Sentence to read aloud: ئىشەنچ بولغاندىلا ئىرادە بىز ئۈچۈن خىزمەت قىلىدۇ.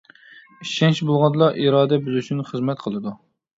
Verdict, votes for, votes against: rejected, 1, 2